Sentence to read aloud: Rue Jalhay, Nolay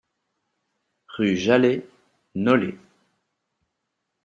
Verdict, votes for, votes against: accepted, 2, 0